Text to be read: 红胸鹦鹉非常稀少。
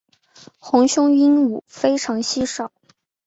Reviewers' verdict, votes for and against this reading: accepted, 2, 0